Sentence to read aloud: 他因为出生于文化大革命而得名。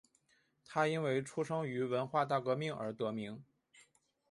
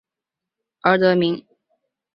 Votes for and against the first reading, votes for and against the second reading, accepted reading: 2, 1, 0, 3, first